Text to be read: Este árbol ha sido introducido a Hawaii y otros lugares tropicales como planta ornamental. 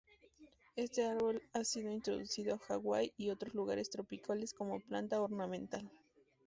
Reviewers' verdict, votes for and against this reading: accepted, 2, 0